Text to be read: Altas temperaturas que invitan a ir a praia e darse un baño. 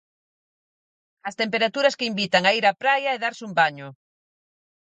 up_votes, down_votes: 0, 4